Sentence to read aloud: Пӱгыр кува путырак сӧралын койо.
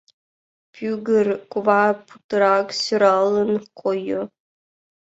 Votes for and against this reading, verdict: 0, 2, rejected